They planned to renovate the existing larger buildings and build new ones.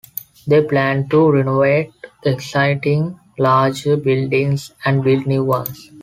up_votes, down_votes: 0, 2